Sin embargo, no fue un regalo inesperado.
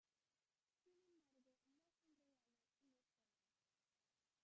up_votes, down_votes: 0, 2